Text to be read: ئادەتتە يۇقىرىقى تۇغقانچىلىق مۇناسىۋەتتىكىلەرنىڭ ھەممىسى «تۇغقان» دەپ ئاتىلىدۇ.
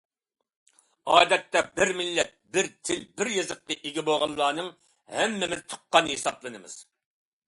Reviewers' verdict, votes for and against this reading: rejected, 0, 2